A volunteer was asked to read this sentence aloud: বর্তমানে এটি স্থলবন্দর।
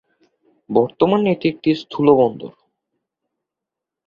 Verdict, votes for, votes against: rejected, 1, 3